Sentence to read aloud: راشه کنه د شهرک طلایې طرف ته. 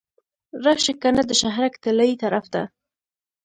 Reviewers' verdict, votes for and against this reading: accepted, 2, 0